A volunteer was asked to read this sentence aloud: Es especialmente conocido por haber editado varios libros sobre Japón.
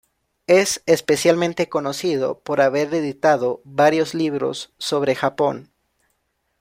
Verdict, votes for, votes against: accepted, 2, 0